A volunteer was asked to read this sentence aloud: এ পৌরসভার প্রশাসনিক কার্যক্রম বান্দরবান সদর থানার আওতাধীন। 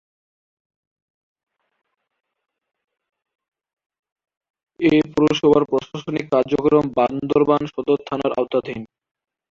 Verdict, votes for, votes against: rejected, 0, 7